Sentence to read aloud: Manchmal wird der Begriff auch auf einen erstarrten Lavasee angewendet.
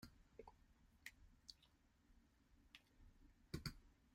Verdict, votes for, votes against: rejected, 0, 2